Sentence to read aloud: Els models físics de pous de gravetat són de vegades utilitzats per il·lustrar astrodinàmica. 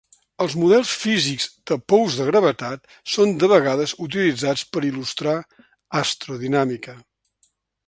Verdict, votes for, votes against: accepted, 3, 0